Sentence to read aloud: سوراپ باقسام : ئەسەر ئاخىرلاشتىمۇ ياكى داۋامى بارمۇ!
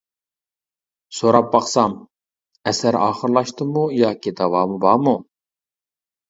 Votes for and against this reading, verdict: 2, 0, accepted